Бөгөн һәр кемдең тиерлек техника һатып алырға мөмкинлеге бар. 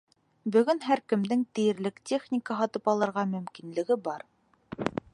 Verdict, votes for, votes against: accepted, 2, 0